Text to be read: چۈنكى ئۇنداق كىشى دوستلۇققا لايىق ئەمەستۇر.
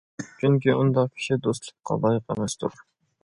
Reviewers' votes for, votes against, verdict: 1, 2, rejected